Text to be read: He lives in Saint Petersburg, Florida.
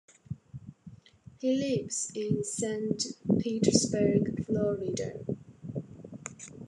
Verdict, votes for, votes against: accepted, 2, 0